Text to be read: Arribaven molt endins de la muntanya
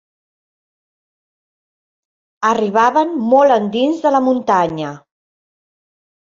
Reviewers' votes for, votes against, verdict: 4, 0, accepted